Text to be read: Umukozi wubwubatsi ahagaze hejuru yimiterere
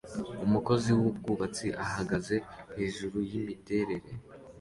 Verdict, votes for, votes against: accepted, 2, 0